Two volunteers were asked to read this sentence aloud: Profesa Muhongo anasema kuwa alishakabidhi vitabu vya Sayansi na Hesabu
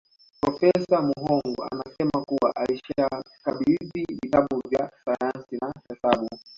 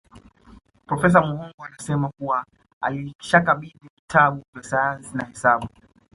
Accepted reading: first